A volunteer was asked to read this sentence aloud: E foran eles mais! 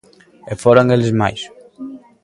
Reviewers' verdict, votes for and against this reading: accepted, 2, 0